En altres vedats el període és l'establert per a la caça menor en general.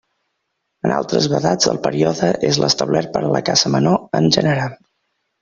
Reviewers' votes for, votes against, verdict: 2, 0, accepted